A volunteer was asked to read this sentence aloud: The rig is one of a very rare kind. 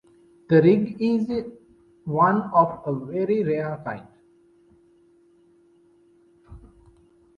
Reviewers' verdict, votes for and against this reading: accepted, 2, 0